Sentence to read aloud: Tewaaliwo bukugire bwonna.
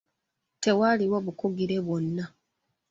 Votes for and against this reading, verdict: 3, 2, accepted